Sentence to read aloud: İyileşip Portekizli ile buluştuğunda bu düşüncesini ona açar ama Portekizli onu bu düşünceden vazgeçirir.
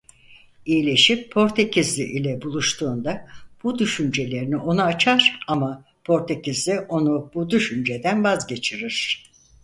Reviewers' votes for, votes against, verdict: 0, 4, rejected